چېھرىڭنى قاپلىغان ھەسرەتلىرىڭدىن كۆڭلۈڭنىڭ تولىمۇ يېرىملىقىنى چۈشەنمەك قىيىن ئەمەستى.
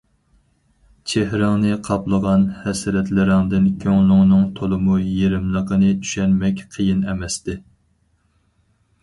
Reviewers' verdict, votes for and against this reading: accepted, 4, 0